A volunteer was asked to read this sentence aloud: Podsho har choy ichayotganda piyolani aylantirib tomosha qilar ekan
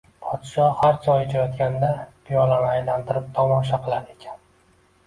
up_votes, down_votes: 2, 0